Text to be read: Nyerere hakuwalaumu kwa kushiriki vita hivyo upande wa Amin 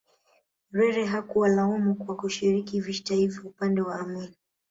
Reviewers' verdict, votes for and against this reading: accepted, 2, 0